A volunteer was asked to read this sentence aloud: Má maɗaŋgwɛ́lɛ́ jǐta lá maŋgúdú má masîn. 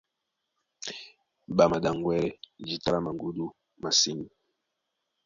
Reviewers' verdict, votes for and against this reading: rejected, 1, 2